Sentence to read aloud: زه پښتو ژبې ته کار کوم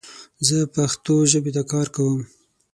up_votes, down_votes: 9, 0